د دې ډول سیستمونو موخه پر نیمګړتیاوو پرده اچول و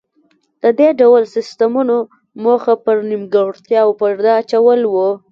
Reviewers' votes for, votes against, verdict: 2, 1, accepted